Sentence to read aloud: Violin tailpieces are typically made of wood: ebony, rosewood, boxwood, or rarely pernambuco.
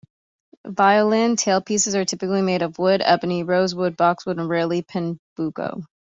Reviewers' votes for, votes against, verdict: 2, 0, accepted